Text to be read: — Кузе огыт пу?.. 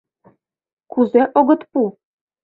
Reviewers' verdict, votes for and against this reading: accepted, 2, 0